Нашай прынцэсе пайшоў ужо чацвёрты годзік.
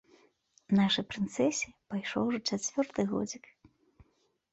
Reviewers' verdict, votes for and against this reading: accepted, 2, 0